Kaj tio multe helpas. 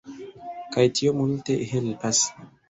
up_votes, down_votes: 1, 2